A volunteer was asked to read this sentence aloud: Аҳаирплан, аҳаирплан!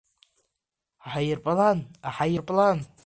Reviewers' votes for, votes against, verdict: 1, 2, rejected